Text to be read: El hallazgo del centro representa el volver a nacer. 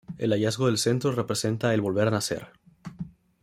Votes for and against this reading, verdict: 2, 0, accepted